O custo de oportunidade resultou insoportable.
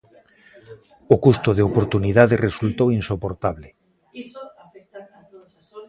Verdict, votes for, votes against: rejected, 1, 2